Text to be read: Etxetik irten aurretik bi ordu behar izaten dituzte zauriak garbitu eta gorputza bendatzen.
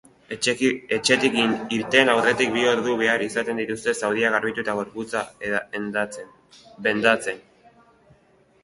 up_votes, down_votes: 0, 3